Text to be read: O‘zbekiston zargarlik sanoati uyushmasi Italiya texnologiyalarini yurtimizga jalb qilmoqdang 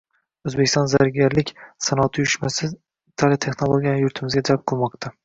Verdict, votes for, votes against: rejected, 2, 3